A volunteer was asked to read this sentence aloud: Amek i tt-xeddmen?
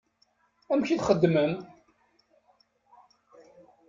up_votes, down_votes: 0, 2